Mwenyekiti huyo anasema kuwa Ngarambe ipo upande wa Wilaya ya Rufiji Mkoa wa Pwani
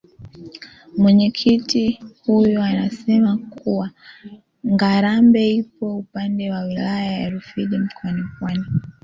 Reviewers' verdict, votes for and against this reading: rejected, 0, 2